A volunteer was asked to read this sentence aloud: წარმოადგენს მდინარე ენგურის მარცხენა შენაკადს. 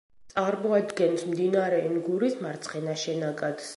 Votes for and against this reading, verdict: 2, 0, accepted